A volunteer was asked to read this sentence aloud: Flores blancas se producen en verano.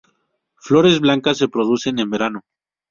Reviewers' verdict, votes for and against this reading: rejected, 0, 2